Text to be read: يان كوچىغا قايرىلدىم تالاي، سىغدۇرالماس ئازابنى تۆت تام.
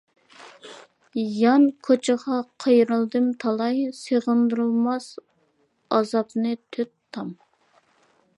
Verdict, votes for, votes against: rejected, 0, 2